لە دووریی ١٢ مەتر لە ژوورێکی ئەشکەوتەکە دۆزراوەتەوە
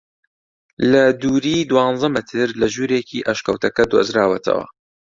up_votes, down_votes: 0, 2